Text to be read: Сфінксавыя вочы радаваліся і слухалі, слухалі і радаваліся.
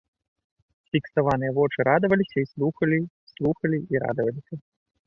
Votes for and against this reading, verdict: 1, 2, rejected